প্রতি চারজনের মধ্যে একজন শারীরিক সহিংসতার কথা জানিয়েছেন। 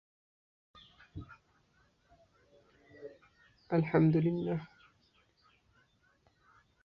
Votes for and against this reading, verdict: 0, 2, rejected